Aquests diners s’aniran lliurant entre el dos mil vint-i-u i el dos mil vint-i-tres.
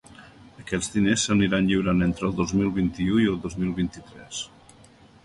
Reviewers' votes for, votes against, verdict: 4, 0, accepted